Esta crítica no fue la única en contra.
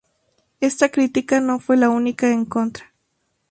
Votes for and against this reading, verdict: 2, 0, accepted